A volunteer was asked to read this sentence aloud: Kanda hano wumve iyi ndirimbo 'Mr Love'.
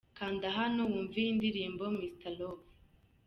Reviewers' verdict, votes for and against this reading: rejected, 0, 2